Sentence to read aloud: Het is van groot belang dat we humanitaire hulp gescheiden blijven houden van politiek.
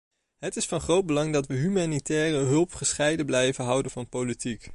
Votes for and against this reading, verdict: 0, 2, rejected